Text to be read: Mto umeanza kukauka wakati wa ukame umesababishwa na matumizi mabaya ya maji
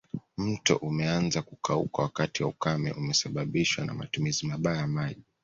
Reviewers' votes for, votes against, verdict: 2, 0, accepted